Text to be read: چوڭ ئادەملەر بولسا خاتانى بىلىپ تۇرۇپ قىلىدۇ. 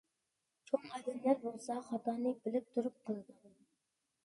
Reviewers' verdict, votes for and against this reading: rejected, 0, 2